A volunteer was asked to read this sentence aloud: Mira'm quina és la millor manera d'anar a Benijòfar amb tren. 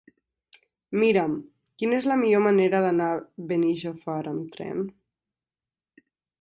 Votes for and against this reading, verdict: 1, 2, rejected